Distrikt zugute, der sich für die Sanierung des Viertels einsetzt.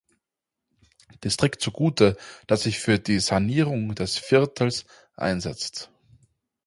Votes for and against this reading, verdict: 0, 4, rejected